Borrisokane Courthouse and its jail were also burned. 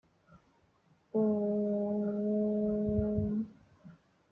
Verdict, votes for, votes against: rejected, 0, 2